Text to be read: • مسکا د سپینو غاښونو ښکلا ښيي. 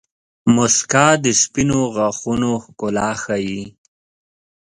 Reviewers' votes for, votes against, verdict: 2, 0, accepted